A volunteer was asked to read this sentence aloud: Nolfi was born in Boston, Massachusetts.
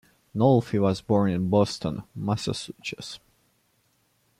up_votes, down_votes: 1, 2